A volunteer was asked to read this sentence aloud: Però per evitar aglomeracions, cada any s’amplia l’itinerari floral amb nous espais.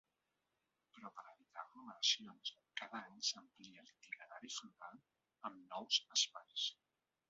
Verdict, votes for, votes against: rejected, 1, 2